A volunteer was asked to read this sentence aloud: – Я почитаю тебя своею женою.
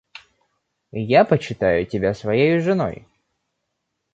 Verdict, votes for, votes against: rejected, 1, 2